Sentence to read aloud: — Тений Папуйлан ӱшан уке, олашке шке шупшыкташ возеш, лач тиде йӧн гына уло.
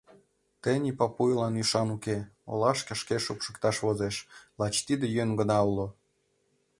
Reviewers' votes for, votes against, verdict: 2, 1, accepted